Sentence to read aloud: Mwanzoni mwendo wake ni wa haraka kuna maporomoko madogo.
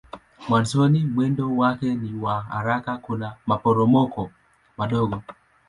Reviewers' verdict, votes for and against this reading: accepted, 2, 0